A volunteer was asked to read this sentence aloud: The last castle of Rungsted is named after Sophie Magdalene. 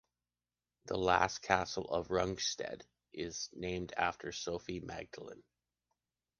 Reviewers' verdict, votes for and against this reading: accepted, 2, 0